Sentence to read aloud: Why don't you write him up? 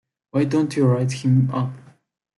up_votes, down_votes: 2, 0